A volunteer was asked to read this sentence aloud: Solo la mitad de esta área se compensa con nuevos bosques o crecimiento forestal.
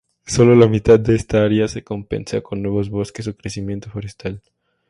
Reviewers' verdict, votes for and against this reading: accepted, 2, 0